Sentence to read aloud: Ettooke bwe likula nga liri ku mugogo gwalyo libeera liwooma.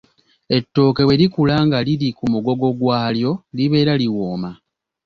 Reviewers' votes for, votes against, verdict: 2, 0, accepted